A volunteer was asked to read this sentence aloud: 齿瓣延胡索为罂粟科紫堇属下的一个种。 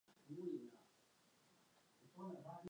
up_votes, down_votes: 1, 3